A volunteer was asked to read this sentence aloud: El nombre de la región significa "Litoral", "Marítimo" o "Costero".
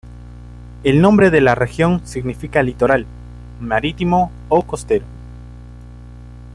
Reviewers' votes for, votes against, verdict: 2, 0, accepted